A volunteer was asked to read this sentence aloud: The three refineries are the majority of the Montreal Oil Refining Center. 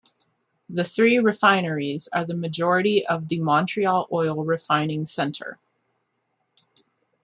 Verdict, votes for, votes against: accepted, 2, 0